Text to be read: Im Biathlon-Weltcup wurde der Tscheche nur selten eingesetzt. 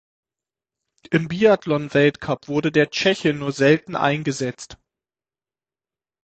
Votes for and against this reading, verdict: 6, 0, accepted